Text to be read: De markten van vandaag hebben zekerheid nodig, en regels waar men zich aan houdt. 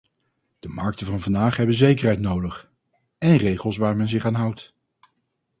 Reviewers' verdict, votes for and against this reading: accepted, 2, 0